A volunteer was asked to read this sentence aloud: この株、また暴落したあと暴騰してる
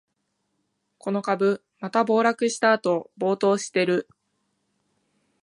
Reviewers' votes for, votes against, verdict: 2, 0, accepted